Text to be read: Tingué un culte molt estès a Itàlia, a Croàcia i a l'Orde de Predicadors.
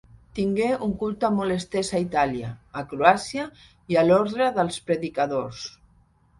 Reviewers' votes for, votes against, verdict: 0, 2, rejected